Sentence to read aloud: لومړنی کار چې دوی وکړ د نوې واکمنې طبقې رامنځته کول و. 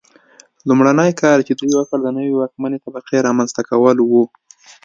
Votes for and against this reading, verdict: 2, 0, accepted